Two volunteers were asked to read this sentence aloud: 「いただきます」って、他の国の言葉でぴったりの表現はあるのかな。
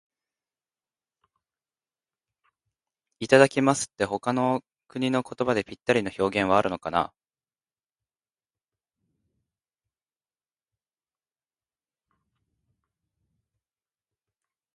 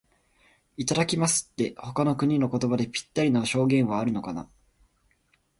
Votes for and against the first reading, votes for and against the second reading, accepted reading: 0, 2, 2, 1, second